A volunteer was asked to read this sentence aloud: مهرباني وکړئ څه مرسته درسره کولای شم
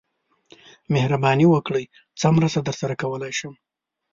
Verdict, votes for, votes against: accepted, 2, 0